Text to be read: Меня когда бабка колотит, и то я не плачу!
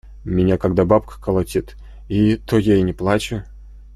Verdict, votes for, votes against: rejected, 0, 2